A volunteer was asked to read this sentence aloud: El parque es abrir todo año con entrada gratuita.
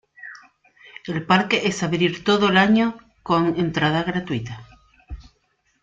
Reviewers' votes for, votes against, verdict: 1, 2, rejected